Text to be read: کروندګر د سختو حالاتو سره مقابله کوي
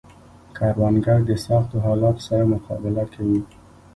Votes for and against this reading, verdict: 2, 0, accepted